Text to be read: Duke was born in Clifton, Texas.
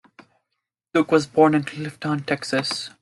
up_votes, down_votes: 2, 0